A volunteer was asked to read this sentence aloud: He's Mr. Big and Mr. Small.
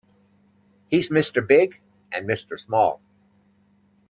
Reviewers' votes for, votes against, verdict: 2, 0, accepted